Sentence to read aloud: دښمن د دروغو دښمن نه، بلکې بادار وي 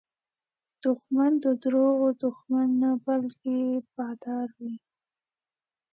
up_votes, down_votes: 2, 1